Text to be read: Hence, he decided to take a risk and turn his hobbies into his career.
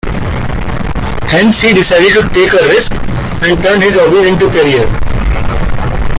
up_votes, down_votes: 0, 2